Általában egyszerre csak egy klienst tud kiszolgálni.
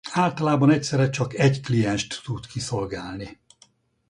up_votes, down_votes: 4, 0